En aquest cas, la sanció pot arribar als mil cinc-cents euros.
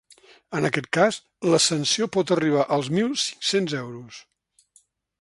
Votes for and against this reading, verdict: 0, 2, rejected